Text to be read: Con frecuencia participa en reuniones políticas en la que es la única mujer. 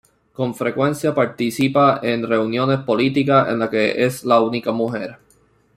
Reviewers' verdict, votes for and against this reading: accepted, 2, 0